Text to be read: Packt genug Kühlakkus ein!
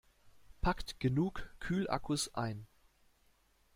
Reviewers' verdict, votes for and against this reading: accepted, 2, 0